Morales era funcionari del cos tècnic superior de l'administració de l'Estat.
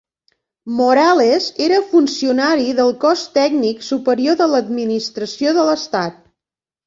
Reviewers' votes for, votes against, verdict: 3, 0, accepted